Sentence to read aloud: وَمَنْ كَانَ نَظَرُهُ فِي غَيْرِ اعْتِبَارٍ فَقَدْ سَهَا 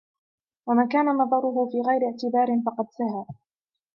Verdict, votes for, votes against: accepted, 2, 0